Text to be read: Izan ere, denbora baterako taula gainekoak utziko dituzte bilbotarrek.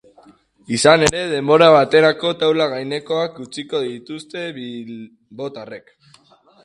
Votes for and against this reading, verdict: 0, 2, rejected